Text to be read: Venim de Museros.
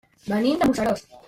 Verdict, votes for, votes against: rejected, 0, 2